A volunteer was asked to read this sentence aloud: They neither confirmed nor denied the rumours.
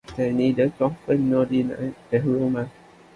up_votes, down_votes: 1, 2